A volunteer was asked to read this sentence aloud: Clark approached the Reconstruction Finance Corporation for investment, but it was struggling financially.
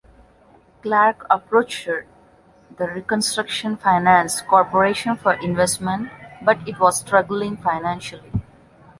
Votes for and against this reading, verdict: 2, 0, accepted